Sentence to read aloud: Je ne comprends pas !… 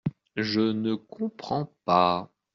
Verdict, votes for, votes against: accepted, 2, 0